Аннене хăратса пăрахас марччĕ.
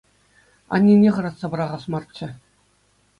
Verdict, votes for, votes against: accepted, 2, 0